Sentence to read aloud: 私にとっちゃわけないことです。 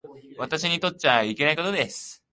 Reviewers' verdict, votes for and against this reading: rejected, 0, 2